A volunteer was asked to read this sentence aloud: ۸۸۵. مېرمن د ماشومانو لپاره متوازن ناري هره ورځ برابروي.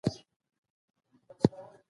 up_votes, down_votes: 0, 2